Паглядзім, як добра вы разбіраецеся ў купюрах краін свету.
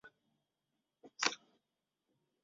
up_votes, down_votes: 0, 2